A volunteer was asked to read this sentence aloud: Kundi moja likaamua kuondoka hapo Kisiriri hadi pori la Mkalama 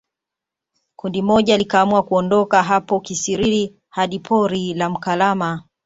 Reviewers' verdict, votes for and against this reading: accepted, 2, 0